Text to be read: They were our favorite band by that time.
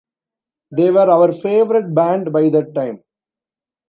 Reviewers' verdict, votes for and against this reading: rejected, 0, 2